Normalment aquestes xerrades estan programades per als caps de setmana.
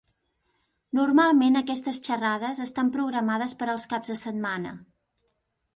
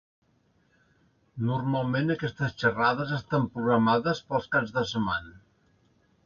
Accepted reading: first